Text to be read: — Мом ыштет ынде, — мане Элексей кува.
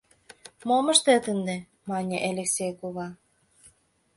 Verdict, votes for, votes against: accepted, 2, 0